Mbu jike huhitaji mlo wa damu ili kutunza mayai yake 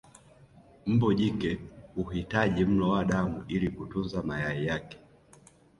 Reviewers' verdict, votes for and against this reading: rejected, 1, 2